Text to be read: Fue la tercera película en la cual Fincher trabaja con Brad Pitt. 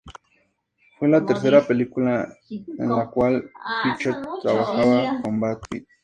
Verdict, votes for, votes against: accepted, 2, 0